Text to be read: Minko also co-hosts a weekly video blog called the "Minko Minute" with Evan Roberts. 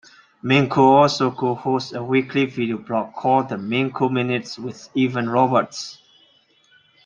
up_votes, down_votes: 2, 1